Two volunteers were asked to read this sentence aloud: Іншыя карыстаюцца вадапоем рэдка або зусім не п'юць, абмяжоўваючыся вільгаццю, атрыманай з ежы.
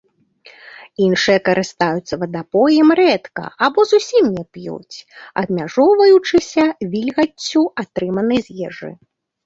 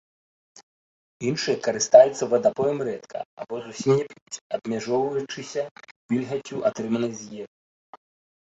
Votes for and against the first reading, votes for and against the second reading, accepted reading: 2, 0, 0, 2, first